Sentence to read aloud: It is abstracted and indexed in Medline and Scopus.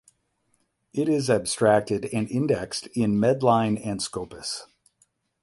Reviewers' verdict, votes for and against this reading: rejected, 4, 4